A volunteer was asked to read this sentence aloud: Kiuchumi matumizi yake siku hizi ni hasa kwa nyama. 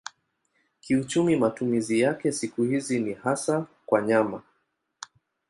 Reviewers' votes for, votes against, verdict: 2, 0, accepted